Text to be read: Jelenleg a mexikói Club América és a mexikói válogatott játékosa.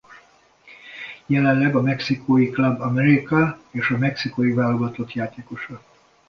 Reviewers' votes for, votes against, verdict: 2, 0, accepted